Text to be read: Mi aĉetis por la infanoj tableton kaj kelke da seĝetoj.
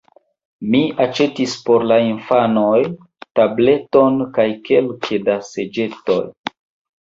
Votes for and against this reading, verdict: 2, 0, accepted